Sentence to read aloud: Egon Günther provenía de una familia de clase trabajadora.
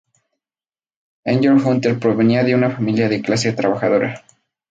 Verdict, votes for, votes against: rejected, 2, 4